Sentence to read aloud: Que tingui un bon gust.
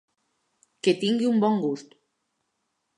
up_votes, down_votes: 3, 0